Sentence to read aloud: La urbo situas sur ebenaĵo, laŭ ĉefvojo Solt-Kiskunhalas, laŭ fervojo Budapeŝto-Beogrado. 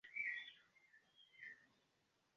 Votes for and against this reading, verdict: 0, 2, rejected